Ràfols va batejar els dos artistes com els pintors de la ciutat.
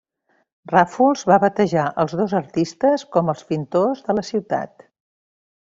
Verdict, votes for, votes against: rejected, 1, 2